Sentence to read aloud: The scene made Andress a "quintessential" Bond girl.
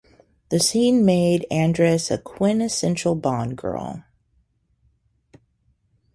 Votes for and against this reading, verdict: 0, 2, rejected